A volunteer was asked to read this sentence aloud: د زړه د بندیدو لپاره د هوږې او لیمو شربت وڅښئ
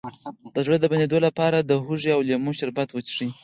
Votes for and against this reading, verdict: 6, 0, accepted